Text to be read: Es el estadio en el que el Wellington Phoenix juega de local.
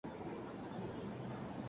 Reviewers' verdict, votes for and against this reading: rejected, 0, 2